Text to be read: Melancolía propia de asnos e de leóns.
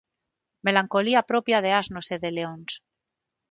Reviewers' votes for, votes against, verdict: 6, 0, accepted